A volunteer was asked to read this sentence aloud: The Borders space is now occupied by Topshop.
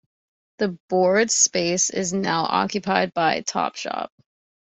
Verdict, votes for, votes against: rejected, 1, 2